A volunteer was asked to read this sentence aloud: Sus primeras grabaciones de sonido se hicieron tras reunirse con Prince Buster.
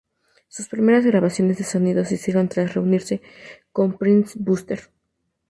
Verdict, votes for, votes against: accepted, 2, 0